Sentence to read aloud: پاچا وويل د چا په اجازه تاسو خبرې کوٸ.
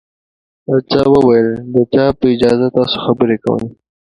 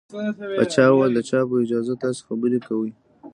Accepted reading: first